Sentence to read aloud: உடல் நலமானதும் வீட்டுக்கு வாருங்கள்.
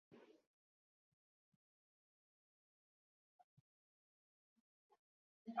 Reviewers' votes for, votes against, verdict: 0, 2, rejected